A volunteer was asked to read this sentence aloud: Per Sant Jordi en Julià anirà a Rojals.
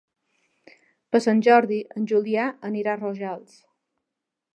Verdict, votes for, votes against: accepted, 3, 0